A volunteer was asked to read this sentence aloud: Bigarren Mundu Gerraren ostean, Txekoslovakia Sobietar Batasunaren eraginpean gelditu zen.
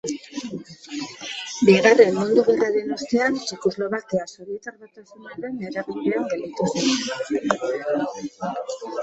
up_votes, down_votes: 3, 1